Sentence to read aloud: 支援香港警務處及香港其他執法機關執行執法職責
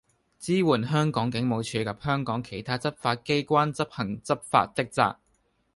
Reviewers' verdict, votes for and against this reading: rejected, 0, 2